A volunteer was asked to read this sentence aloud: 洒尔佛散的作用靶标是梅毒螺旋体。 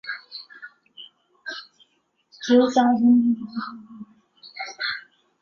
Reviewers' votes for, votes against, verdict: 0, 4, rejected